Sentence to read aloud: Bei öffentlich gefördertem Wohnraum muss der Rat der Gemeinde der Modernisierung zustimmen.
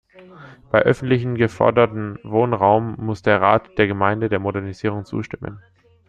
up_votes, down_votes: 0, 2